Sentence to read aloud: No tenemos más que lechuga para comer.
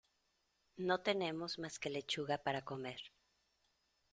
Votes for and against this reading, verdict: 2, 0, accepted